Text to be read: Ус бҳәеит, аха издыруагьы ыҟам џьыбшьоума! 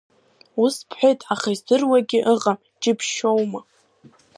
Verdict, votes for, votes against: rejected, 1, 2